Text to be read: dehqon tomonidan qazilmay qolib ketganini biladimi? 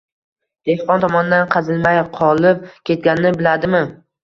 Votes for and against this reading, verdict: 1, 2, rejected